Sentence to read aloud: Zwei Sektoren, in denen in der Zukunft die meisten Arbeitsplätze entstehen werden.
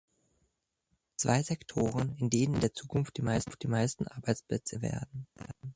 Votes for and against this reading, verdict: 0, 2, rejected